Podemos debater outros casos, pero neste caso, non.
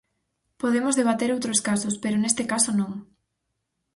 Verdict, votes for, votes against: accepted, 4, 0